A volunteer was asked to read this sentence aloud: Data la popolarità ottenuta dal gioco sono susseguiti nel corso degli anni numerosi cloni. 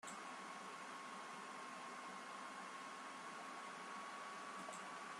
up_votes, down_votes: 0, 2